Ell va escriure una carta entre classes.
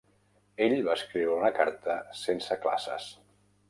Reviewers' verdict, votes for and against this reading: rejected, 0, 2